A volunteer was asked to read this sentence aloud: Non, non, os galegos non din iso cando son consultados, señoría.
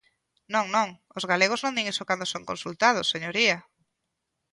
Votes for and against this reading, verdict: 2, 0, accepted